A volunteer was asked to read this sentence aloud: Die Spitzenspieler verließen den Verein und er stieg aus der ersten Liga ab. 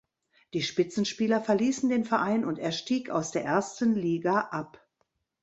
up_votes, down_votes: 3, 0